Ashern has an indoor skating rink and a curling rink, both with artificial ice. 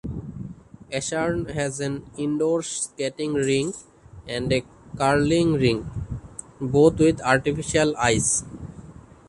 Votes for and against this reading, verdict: 0, 2, rejected